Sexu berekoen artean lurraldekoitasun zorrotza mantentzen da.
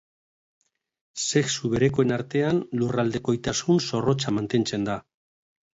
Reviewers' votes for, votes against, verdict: 2, 0, accepted